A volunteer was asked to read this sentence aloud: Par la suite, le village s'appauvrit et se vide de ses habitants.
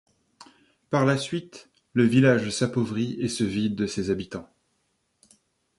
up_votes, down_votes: 3, 0